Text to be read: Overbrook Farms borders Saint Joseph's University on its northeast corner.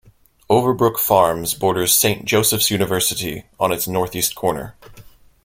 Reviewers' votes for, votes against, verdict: 2, 0, accepted